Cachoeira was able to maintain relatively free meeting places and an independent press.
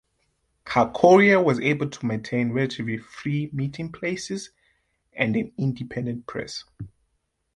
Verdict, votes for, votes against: accepted, 2, 0